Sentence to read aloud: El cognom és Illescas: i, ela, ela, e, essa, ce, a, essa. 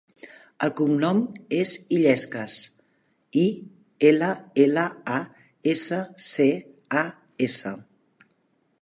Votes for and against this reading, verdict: 1, 2, rejected